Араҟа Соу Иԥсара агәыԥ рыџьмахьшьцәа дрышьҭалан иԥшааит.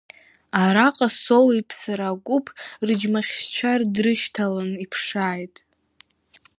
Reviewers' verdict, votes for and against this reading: accepted, 2, 1